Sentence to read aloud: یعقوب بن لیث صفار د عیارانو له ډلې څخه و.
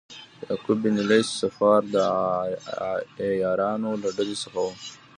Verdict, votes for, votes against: rejected, 0, 2